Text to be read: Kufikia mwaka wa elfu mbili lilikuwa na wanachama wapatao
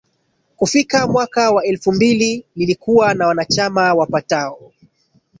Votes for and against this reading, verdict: 1, 2, rejected